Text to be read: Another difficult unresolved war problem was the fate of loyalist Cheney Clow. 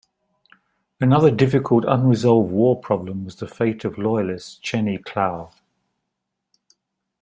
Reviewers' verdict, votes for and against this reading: accepted, 2, 0